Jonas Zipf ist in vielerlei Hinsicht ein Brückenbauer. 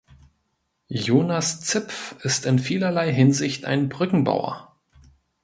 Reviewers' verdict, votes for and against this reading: accepted, 2, 0